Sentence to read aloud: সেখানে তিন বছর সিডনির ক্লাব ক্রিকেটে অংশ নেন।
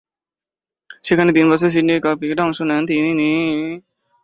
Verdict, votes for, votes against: rejected, 0, 2